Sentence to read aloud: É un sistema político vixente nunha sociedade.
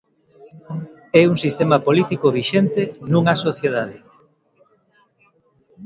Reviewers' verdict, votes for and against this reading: rejected, 1, 2